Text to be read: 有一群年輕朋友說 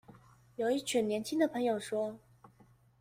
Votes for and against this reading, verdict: 1, 2, rejected